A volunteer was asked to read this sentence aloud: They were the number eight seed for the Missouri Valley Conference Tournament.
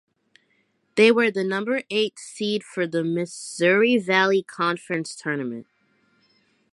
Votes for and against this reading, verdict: 2, 0, accepted